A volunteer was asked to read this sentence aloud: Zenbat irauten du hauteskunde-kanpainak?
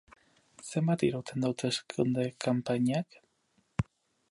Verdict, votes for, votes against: rejected, 2, 2